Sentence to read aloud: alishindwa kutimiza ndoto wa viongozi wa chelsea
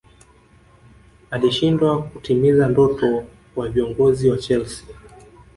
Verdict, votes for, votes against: rejected, 0, 2